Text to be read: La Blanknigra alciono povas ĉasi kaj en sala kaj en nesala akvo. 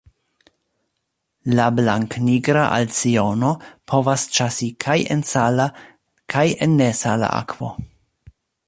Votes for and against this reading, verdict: 2, 0, accepted